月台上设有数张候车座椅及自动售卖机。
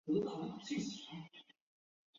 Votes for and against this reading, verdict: 2, 3, rejected